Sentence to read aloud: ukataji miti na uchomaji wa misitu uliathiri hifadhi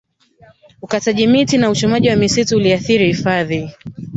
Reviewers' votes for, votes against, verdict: 1, 2, rejected